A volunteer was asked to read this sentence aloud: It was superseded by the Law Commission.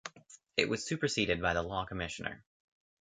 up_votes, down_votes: 0, 2